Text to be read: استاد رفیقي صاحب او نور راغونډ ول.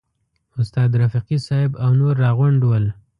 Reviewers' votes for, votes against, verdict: 2, 0, accepted